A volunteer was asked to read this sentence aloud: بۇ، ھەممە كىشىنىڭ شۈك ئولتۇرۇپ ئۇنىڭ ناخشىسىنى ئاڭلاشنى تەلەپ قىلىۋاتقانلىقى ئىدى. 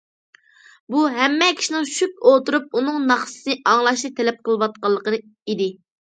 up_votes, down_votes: 0, 2